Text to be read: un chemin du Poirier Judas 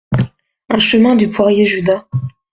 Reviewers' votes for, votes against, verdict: 2, 0, accepted